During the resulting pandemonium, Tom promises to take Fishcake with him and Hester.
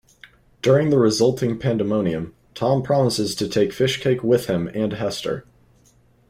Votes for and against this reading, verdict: 3, 0, accepted